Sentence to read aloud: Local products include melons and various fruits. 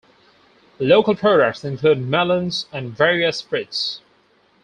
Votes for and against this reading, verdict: 2, 2, rejected